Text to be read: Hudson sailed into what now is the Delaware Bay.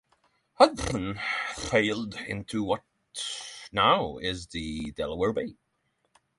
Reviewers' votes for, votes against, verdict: 3, 6, rejected